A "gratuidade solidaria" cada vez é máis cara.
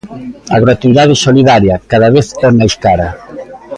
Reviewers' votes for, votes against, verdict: 2, 0, accepted